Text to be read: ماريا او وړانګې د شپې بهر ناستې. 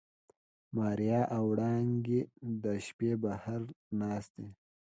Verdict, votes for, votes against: accepted, 2, 0